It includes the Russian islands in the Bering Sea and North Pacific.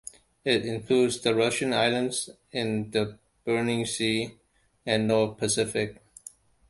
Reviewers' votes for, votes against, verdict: 1, 2, rejected